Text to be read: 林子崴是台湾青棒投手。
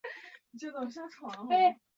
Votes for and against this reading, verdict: 0, 2, rejected